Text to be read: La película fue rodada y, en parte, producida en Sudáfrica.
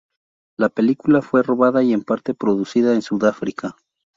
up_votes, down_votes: 0, 2